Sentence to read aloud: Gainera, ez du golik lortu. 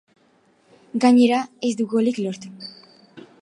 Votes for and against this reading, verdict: 2, 0, accepted